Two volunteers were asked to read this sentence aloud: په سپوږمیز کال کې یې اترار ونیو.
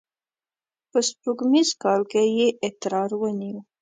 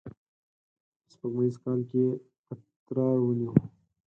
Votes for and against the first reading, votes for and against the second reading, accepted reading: 2, 1, 2, 4, first